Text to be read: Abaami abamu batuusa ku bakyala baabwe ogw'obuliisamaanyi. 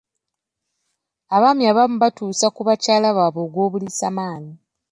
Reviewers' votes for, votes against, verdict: 2, 0, accepted